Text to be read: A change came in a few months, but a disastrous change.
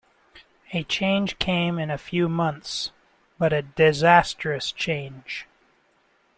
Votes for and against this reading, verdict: 2, 1, accepted